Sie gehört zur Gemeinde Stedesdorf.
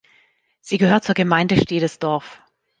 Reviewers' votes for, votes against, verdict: 2, 0, accepted